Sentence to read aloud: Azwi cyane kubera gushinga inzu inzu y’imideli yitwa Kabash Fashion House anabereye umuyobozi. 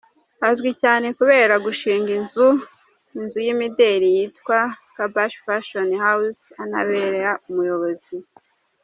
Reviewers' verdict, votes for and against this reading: rejected, 0, 2